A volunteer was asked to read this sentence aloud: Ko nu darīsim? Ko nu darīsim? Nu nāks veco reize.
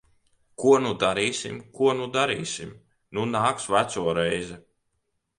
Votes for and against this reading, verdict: 2, 1, accepted